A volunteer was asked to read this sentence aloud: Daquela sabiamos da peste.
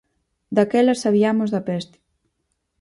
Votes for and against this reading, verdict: 4, 0, accepted